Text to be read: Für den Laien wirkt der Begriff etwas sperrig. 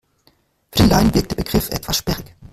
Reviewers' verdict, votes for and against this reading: rejected, 1, 2